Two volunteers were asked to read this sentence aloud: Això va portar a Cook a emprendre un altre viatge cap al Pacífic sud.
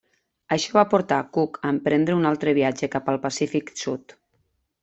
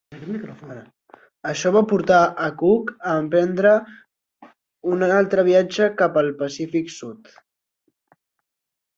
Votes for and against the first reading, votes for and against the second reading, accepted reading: 2, 0, 0, 2, first